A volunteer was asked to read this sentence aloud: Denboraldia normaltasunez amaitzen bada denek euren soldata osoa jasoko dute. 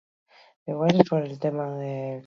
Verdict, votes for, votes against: rejected, 0, 4